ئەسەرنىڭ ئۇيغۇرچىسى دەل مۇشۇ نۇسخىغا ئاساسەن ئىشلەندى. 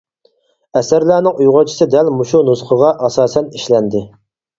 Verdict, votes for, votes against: rejected, 0, 4